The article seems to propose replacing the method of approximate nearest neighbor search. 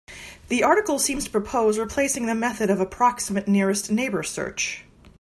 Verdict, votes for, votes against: accepted, 2, 0